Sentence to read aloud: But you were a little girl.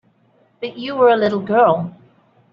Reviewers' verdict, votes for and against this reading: accepted, 2, 0